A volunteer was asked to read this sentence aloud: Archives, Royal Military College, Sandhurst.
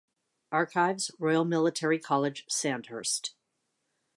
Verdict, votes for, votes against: accepted, 2, 1